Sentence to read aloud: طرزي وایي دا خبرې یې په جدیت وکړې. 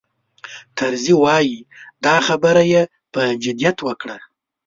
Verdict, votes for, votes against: rejected, 1, 2